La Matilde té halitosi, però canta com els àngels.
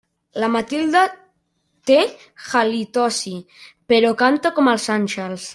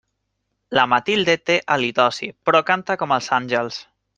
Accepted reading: second